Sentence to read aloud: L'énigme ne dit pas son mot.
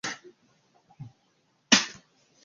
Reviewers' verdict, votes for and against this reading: rejected, 0, 2